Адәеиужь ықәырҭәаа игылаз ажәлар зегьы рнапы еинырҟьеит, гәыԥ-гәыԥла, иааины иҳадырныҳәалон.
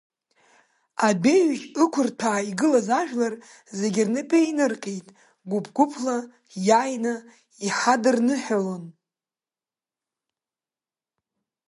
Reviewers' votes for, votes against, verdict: 2, 0, accepted